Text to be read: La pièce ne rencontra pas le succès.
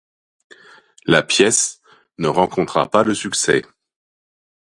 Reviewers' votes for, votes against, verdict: 2, 0, accepted